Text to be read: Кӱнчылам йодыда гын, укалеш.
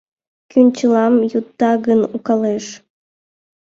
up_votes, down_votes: 1, 2